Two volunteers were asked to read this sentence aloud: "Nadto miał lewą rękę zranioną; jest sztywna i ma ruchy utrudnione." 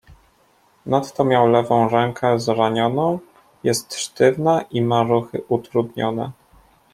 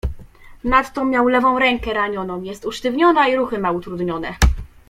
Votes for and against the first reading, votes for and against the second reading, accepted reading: 2, 0, 1, 2, first